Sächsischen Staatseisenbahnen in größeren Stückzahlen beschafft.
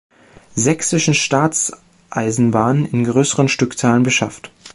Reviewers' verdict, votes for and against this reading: rejected, 1, 3